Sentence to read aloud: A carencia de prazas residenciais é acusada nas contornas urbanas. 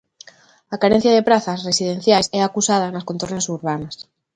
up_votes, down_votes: 3, 0